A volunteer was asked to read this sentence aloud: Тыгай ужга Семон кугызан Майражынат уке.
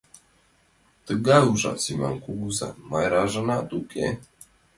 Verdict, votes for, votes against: rejected, 0, 2